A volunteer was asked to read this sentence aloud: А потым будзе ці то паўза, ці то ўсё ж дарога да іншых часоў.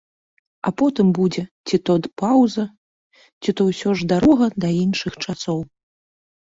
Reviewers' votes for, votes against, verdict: 2, 1, accepted